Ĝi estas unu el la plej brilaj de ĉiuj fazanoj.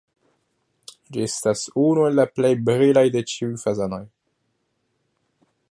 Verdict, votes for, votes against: rejected, 1, 2